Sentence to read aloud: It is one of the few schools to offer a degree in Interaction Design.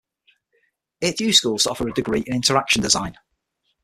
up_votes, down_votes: 3, 6